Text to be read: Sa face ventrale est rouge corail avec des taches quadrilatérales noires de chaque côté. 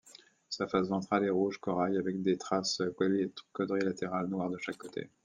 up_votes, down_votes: 1, 2